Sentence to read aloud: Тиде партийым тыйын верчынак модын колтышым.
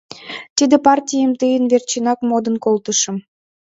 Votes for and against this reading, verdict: 2, 0, accepted